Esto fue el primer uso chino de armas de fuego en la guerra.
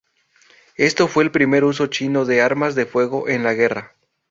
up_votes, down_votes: 4, 0